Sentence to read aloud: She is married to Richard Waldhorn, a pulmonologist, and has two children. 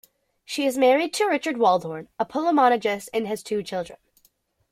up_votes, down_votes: 1, 2